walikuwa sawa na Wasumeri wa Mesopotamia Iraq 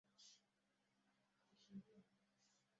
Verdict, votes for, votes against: rejected, 0, 2